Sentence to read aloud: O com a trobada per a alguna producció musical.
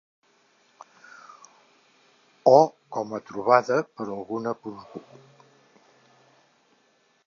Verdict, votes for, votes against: rejected, 0, 2